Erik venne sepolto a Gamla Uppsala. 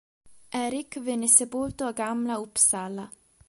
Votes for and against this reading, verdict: 3, 0, accepted